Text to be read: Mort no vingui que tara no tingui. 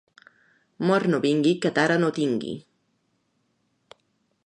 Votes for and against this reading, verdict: 2, 0, accepted